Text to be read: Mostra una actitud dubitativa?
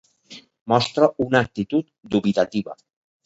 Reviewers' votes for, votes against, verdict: 1, 2, rejected